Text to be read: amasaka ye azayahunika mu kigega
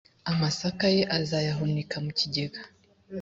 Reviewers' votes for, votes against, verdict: 2, 0, accepted